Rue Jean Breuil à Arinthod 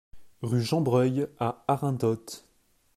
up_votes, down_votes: 3, 1